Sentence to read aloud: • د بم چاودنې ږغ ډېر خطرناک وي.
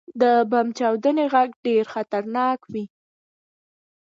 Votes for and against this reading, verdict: 2, 0, accepted